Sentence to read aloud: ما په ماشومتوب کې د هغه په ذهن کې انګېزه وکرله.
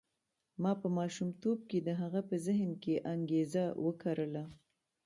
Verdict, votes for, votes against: rejected, 0, 2